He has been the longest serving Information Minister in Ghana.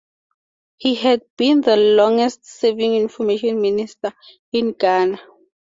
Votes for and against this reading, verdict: 4, 0, accepted